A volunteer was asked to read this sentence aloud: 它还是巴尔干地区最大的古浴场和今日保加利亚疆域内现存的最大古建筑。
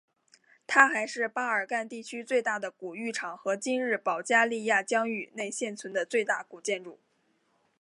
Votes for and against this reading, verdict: 3, 1, accepted